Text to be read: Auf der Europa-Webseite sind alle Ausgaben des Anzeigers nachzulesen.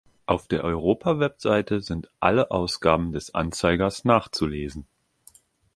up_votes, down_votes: 2, 0